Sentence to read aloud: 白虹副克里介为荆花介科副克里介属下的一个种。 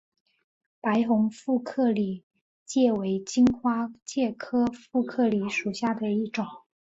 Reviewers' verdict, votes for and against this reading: accepted, 3, 0